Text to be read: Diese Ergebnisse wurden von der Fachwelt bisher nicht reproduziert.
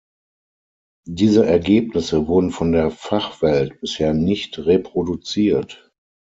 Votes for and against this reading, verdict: 9, 3, accepted